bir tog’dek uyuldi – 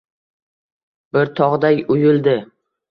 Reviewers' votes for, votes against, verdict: 0, 2, rejected